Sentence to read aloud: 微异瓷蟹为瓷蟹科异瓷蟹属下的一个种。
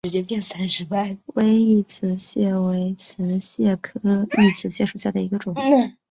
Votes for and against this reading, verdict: 1, 2, rejected